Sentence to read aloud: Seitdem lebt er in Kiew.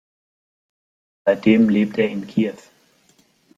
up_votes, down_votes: 2, 1